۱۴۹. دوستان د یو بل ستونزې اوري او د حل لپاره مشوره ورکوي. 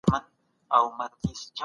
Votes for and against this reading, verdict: 0, 2, rejected